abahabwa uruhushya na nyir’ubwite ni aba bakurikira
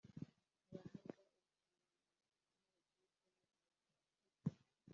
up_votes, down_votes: 0, 2